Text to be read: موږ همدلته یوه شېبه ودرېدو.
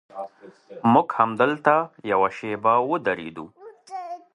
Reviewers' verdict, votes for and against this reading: accepted, 2, 0